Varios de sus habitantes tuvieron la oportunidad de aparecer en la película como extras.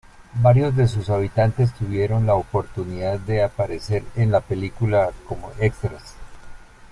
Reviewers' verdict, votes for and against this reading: accepted, 2, 0